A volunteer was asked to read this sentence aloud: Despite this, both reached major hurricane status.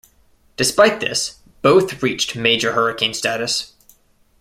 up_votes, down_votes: 2, 0